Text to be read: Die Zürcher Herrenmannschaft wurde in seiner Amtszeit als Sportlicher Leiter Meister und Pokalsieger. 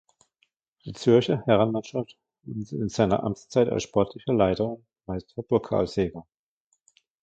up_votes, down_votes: 0, 2